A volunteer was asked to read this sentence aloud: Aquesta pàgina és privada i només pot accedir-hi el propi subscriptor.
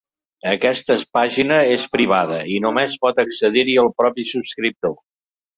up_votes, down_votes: 1, 3